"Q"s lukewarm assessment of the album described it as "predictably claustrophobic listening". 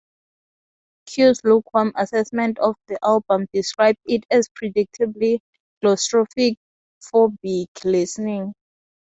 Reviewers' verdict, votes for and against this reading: accepted, 2, 0